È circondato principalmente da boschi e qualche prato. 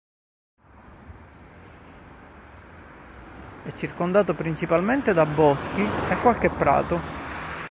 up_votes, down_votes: 1, 2